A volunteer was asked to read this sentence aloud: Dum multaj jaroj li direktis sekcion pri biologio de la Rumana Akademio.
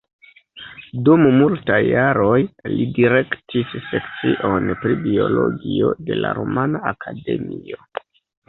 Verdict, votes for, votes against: rejected, 0, 2